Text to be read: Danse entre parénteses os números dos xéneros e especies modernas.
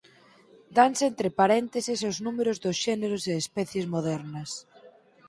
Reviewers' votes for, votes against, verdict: 4, 0, accepted